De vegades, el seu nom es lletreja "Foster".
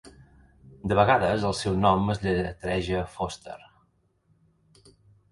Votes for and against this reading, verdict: 1, 2, rejected